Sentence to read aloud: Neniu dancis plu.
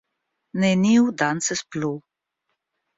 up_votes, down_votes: 1, 2